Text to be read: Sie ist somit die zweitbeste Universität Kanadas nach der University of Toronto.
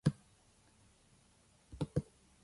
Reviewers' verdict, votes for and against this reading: rejected, 0, 2